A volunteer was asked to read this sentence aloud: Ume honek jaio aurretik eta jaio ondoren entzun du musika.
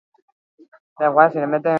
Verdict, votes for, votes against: rejected, 0, 4